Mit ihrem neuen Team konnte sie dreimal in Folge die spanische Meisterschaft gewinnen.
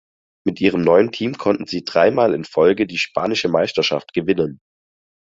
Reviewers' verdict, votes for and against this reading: rejected, 0, 4